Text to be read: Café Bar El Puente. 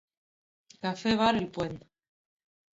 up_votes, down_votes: 2, 0